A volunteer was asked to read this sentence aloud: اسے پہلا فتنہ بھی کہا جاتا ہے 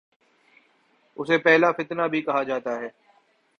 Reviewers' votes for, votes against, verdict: 3, 1, accepted